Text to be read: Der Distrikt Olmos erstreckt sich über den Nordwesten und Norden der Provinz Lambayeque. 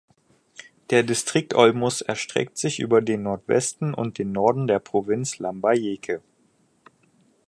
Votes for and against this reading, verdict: 2, 4, rejected